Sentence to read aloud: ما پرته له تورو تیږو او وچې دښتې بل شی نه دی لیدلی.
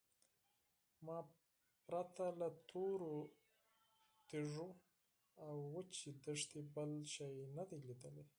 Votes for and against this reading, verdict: 2, 4, rejected